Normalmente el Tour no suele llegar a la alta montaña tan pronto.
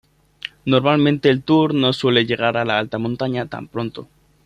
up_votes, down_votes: 2, 0